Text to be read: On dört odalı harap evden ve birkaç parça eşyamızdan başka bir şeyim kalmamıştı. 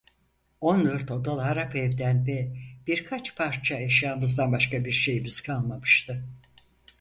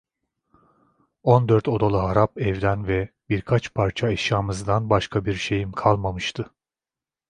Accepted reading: second